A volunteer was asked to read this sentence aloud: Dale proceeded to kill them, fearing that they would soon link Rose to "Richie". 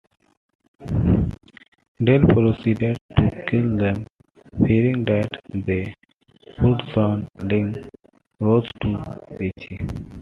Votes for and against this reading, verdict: 1, 2, rejected